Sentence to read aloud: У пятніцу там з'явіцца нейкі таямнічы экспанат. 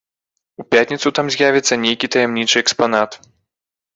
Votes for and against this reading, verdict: 2, 0, accepted